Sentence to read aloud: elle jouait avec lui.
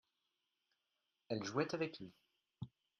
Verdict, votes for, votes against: accepted, 2, 0